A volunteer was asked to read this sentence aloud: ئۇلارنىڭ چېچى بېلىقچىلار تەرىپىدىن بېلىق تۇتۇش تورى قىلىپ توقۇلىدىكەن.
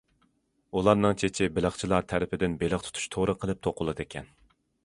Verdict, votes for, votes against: accepted, 2, 0